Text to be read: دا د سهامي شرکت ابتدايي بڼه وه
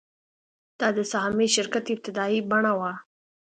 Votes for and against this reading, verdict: 2, 0, accepted